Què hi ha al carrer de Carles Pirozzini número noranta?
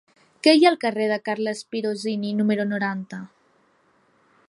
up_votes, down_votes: 2, 0